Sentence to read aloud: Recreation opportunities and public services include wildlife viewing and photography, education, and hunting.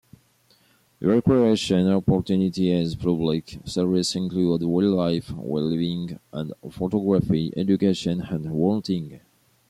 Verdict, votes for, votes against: rejected, 1, 2